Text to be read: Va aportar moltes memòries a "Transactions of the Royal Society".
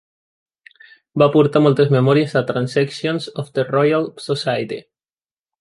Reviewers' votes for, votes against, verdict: 2, 0, accepted